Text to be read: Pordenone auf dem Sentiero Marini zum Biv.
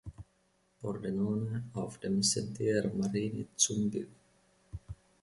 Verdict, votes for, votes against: accepted, 2, 0